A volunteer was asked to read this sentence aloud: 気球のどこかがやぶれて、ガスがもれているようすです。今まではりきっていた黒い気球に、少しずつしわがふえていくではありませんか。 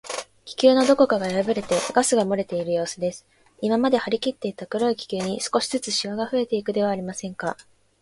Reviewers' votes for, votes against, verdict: 2, 0, accepted